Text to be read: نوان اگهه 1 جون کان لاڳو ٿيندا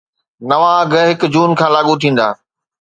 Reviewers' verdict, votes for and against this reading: rejected, 0, 2